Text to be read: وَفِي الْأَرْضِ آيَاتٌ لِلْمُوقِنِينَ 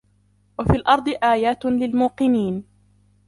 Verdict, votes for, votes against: rejected, 0, 2